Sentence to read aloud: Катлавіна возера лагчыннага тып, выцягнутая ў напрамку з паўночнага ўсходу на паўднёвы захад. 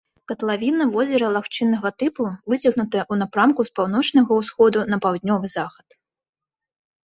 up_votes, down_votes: 0, 2